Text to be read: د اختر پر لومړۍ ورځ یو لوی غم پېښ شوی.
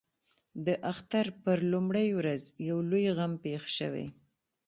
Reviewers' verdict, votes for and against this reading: accepted, 2, 0